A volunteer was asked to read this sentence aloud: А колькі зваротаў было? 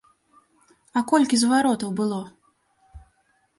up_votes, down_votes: 2, 0